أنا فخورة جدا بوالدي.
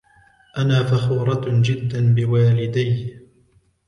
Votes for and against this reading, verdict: 1, 2, rejected